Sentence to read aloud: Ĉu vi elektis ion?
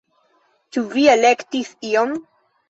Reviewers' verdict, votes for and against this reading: accepted, 2, 1